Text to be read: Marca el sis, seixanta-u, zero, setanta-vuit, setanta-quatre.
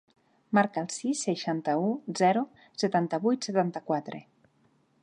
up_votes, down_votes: 4, 0